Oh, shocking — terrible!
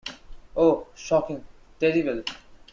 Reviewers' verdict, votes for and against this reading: accepted, 2, 0